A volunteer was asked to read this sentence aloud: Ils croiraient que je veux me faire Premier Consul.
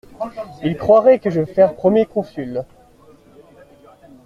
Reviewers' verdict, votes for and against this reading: rejected, 1, 2